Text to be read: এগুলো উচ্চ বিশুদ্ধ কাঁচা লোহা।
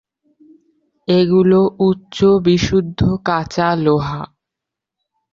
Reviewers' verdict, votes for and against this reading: accepted, 2, 0